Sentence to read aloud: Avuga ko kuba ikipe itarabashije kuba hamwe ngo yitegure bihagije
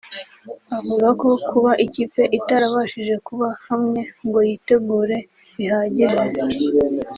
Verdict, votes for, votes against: accepted, 3, 0